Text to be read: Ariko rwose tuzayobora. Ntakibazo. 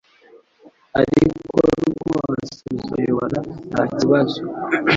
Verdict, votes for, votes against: rejected, 1, 2